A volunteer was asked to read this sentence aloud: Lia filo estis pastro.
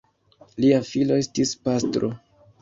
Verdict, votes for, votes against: rejected, 1, 3